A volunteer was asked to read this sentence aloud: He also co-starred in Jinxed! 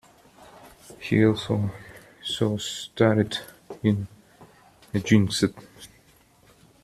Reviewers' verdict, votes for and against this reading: rejected, 0, 2